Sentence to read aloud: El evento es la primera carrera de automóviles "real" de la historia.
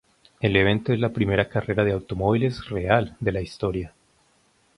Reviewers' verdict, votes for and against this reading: rejected, 0, 2